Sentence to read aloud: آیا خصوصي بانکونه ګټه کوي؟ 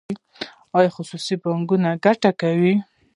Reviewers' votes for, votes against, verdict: 1, 2, rejected